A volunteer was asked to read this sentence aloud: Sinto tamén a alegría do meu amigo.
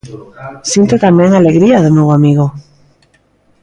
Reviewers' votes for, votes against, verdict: 2, 0, accepted